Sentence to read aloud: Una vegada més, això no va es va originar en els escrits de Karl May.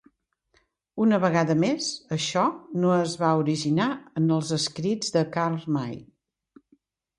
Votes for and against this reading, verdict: 1, 2, rejected